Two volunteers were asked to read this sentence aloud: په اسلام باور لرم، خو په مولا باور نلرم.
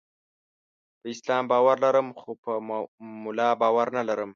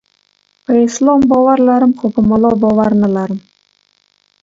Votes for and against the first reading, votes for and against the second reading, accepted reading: 0, 2, 2, 0, second